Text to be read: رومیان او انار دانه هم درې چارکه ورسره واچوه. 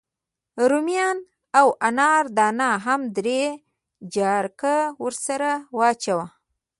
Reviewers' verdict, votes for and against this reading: rejected, 1, 2